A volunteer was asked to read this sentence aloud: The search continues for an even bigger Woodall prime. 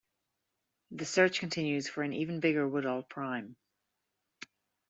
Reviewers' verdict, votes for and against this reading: accepted, 2, 0